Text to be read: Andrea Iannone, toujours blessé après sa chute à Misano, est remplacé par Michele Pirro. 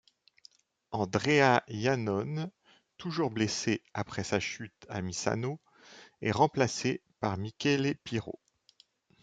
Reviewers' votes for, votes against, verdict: 2, 0, accepted